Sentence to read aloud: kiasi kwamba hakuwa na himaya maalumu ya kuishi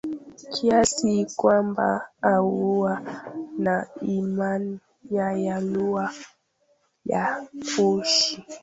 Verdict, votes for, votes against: rejected, 0, 2